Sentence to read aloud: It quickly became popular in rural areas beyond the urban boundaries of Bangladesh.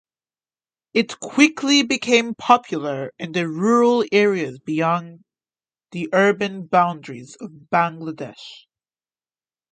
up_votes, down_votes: 1, 2